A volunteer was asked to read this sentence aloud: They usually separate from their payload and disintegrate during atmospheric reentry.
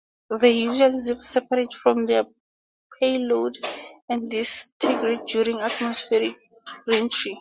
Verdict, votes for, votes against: rejected, 2, 2